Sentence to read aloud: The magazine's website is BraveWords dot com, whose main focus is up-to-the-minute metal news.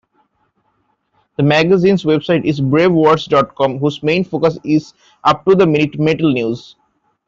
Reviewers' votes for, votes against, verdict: 1, 2, rejected